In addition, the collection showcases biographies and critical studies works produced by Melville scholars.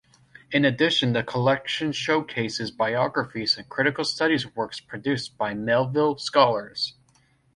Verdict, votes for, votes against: accepted, 2, 0